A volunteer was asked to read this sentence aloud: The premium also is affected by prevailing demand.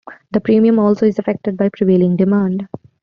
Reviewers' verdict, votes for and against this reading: accepted, 2, 0